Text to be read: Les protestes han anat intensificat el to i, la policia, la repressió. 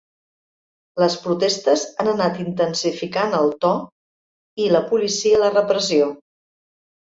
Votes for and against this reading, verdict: 1, 2, rejected